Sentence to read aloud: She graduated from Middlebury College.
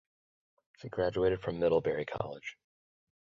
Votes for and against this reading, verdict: 0, 4, rejected